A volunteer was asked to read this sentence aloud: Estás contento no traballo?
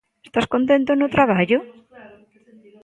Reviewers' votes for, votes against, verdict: 2, 0, accepted